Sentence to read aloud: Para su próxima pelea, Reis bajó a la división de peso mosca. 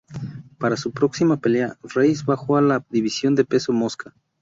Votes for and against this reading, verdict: 2, 0, accepted